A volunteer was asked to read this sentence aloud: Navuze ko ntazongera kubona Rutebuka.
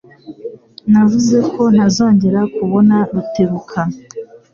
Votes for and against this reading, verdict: 2, 0, accepted